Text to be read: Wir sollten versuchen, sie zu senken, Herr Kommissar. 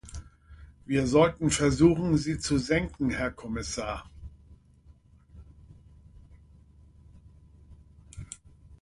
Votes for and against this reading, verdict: 4, 0, accepted